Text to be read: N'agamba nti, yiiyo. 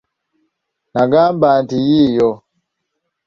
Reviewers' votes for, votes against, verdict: 1, 2, rejected